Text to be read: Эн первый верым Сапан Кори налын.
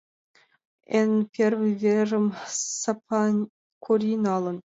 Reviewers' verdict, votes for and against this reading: accepted, 2, 1